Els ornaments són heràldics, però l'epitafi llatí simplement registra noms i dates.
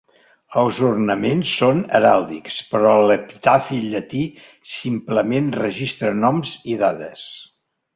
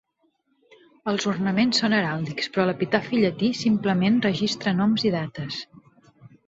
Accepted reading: second